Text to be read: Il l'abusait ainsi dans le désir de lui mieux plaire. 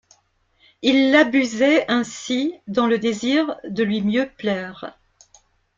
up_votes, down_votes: 2, 0